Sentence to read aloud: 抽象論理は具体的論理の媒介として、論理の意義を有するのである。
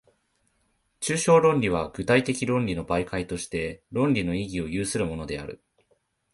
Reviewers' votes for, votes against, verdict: 2, 0, accepted